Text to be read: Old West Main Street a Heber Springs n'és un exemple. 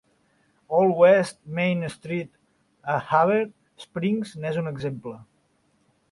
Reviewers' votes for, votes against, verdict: 2, 0, accepted